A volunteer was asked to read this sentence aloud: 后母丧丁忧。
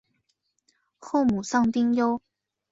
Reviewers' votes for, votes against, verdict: 4, 0, accepted